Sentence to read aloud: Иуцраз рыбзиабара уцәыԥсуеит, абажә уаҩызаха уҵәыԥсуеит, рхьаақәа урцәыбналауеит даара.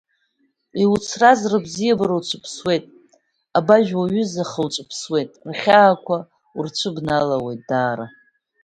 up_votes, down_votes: 2, 0